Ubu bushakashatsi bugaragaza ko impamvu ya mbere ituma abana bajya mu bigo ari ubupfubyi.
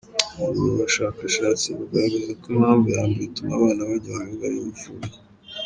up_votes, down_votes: 1, 2